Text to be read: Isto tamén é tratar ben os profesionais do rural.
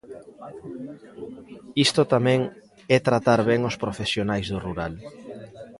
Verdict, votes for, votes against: rejected, 1, 2